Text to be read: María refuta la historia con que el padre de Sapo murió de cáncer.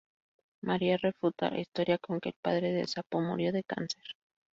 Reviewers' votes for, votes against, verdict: 0, 2, rejected